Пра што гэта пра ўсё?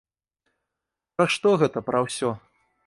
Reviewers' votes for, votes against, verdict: 2, 0, accepted